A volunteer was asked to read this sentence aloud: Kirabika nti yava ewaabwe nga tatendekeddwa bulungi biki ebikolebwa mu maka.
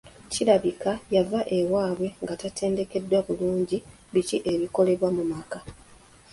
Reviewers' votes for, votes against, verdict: 1, 2, rejected